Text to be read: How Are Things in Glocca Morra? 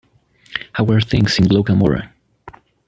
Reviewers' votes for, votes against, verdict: 2, 0, accepted